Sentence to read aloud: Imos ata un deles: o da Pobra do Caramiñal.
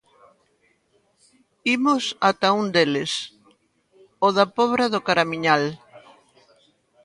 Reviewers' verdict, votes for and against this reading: rejected, 1, 2